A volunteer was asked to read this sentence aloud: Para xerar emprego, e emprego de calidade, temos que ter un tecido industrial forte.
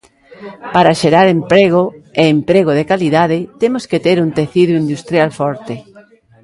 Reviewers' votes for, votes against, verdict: 1, 2, rejected